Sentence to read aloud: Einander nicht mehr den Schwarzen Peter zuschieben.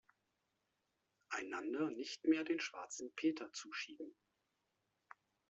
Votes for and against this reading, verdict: 1, 2, rejected